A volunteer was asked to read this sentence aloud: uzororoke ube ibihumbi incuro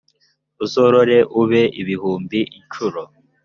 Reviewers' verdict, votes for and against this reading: rejected, 1, 2